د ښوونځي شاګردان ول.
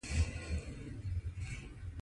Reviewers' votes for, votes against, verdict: 1, 2, rejected